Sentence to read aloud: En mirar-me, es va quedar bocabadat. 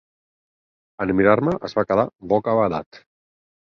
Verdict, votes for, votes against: accepted, 4, 0